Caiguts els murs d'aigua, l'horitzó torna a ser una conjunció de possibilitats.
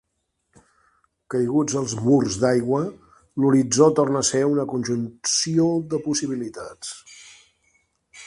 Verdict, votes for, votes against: rejected, 1, 2